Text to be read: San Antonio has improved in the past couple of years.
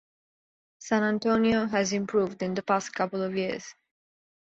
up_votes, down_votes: 2, 1